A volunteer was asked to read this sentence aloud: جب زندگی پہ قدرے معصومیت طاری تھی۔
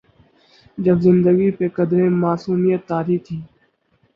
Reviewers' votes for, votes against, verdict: 4, 0, accepted